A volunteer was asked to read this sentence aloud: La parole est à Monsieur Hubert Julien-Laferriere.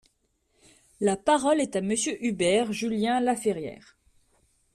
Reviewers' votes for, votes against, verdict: 2, 0, accepted